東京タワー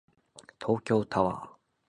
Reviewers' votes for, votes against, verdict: 2, 0, accepted